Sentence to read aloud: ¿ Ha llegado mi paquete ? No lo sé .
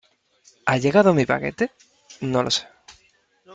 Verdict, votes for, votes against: accepted, 3, 0